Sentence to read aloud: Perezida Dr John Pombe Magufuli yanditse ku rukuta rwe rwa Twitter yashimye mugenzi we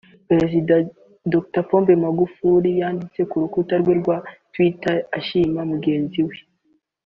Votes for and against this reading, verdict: 2, 1, accepted